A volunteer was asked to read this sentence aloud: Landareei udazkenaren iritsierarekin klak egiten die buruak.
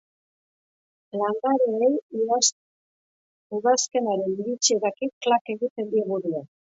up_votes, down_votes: 0, 2